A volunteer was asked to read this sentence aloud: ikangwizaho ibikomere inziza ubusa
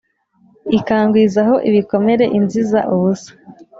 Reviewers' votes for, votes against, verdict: 3, 0, accepted